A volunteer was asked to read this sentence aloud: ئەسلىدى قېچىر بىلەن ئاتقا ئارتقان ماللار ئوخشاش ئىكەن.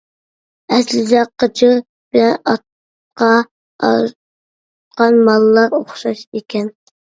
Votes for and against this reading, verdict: 0, 2, rejected